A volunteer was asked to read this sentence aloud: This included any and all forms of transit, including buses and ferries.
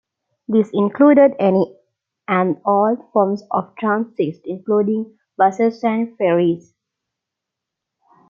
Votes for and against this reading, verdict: 2, 1, accepted